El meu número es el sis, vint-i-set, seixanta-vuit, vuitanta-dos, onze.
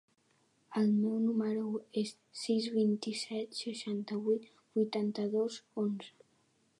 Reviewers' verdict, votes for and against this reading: rejected, 0, 4